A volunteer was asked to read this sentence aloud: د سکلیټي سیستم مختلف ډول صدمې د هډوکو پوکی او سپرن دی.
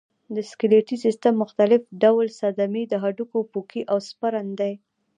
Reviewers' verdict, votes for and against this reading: accepted, 2, 0